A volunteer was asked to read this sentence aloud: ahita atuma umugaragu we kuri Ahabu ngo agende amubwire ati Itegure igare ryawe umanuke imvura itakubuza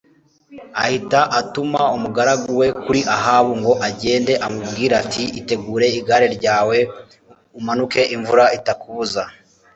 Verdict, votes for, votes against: accepted, 2, 0